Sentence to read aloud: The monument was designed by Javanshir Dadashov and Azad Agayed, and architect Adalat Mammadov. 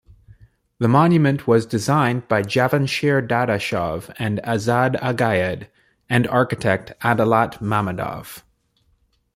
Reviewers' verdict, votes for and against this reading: accepted, 2, 0